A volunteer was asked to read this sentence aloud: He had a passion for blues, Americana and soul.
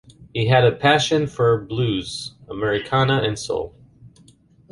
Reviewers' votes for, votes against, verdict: 2, 0, accepted